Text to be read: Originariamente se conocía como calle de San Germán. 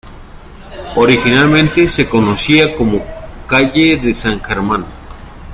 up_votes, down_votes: 0, 2